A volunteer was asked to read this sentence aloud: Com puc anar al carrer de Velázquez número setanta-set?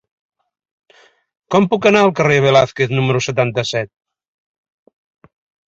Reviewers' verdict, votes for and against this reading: rejected, 1, 2